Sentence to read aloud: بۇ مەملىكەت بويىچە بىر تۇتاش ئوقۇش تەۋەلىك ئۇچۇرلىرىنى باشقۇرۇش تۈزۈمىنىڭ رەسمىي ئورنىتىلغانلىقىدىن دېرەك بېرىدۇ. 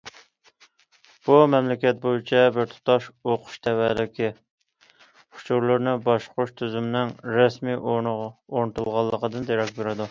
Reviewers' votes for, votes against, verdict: 0, 2, rejected